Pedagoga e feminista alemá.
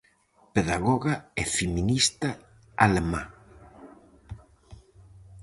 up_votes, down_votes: 4, 0